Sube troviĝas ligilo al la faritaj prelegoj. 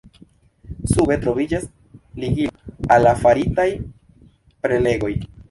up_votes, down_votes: 1, 2